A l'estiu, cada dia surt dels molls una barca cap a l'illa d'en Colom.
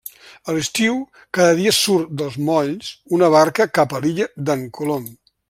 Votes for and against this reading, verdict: 3, 1, accepted